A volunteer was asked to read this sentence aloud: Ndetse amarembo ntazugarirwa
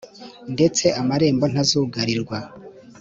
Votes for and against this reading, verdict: 2, 0, accepted